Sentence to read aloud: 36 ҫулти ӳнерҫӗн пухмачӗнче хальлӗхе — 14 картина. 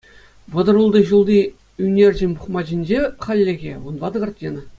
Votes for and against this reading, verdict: 0, 2, rejected